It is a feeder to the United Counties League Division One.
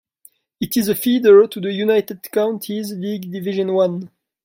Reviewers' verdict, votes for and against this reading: accepted, 2, 1